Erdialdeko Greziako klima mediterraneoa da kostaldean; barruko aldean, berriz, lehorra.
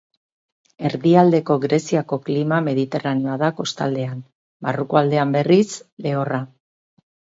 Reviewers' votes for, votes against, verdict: 4, 0, accepted